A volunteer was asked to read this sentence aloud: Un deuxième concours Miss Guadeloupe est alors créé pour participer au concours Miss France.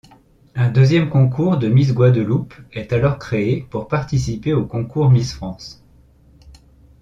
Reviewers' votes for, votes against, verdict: 0, 2, rejected